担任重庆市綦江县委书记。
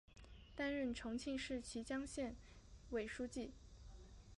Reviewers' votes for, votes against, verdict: 3, 1, accepted